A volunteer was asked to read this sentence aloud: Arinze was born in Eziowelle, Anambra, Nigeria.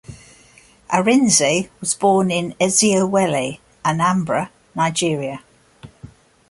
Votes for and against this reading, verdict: 2, 0, accepted